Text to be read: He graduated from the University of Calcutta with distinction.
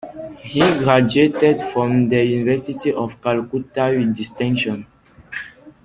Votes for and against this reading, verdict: 1, 2, rejected